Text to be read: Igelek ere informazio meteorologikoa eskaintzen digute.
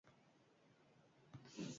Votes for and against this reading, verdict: 0, 2, rejected